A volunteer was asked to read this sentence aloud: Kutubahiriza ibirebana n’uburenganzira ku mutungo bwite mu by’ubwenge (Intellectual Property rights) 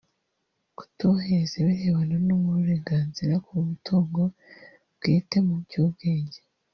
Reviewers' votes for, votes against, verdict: 1, 2, rejected